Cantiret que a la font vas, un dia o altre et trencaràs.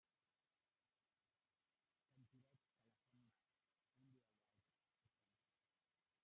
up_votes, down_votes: 0, 2